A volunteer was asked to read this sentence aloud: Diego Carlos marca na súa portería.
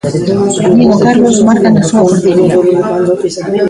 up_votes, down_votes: 0, 2